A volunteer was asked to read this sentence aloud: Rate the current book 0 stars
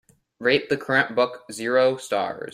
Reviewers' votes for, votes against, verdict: 0, 2, rejected